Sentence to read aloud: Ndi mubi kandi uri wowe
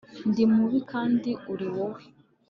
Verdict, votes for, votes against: accepted, 2, 0